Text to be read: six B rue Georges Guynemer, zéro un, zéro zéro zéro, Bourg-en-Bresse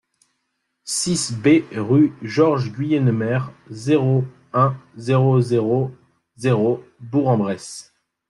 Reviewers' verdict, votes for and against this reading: accepted, 2, 0